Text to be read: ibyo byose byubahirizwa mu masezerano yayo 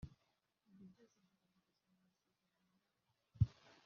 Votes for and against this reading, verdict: 0, 2, rejected